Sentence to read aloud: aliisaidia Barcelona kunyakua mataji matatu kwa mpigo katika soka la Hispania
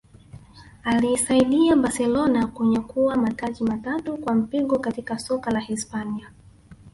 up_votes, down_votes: 0, 2